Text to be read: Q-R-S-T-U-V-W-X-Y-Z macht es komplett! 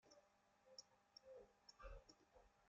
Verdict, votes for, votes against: rejected, 1, 2